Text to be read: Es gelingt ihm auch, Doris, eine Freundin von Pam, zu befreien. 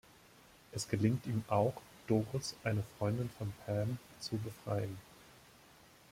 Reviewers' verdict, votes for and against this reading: accepted, 2, 0